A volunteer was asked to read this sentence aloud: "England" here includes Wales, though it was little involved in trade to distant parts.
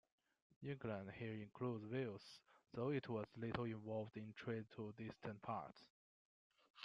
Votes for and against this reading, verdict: 2, 1, accepted